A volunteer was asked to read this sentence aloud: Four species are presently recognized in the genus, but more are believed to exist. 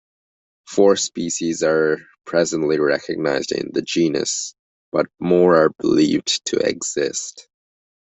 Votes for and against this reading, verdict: 3, 1, accepted